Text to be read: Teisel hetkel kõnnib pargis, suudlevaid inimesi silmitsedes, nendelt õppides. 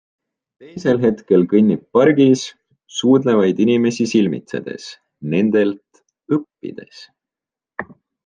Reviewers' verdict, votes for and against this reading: accepted, 3, 1